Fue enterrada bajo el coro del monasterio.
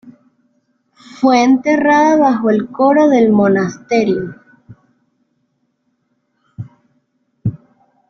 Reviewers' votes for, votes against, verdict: 2, 1, accepted